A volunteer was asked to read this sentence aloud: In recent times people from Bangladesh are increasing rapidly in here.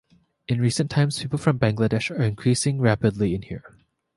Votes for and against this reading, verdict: 2, 0, accepted